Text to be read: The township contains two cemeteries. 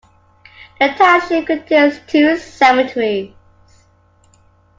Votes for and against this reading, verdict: 1, 2, rejected